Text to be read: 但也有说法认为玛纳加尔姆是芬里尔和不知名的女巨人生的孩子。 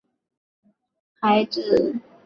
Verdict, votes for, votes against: rejected, 2, 5